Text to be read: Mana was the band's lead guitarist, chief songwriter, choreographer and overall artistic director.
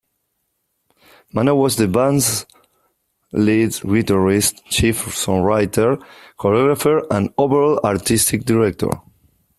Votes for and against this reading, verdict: 0, 3, rejected